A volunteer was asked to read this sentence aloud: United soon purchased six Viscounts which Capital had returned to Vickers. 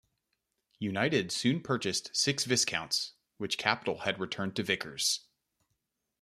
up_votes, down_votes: 2, 0